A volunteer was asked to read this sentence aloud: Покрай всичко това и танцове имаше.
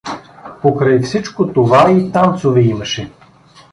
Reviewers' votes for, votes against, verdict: 2, 0, accepted